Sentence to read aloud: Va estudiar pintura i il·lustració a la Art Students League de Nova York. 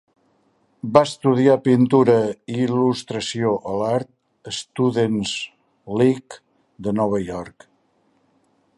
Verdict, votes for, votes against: accepted, 2, 0